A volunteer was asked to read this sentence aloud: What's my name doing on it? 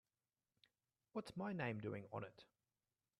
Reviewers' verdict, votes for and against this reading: accepted, 2, 0